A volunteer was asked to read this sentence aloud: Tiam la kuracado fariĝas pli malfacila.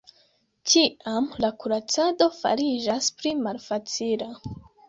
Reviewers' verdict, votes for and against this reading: accepted, 2, 0